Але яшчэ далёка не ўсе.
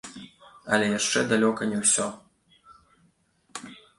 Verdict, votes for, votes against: rejected, 1, 2